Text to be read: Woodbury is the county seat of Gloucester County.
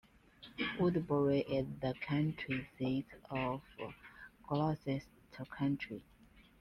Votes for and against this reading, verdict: 1, 2, rejected